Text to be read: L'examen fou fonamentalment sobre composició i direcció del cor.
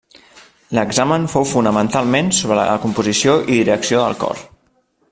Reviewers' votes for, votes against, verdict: 0, 2, rejected